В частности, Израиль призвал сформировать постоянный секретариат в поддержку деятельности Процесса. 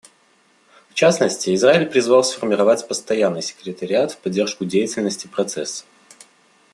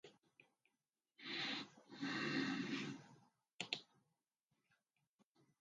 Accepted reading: first